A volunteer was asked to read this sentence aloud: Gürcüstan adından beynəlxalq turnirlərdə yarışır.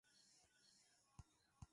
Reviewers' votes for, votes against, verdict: 0, 2, rejected